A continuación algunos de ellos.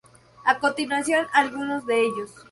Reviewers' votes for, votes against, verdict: 4, 0, accepted